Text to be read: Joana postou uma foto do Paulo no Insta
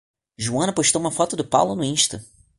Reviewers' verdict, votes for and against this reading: accepted, 2, 0